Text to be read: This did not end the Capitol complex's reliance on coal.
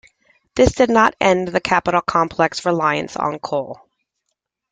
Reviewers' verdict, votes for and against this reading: rejected, 0, 2